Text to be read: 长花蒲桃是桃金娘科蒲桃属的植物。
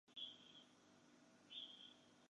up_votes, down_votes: 0, 2